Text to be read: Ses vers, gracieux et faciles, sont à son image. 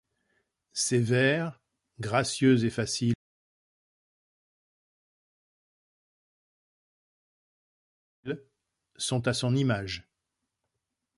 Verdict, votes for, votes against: rejected, 0, 2